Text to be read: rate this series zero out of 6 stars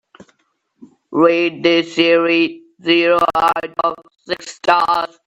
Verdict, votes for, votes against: rejected, 0, 2